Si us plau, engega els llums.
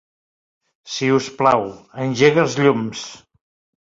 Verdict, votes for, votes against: accepted, 2, 0